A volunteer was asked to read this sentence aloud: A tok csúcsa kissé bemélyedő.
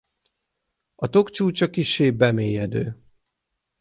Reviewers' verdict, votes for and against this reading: accepted, 6, 0